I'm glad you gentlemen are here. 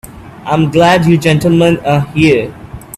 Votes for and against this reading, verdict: 2, 0, accepted